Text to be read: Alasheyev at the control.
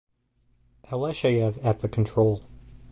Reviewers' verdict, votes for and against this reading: accepted, 4, 0